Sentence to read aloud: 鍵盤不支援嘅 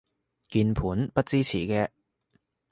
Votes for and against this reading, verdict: 0, 2, rejected